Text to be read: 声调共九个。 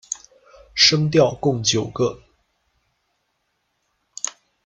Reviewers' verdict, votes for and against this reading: accepted, 2, 0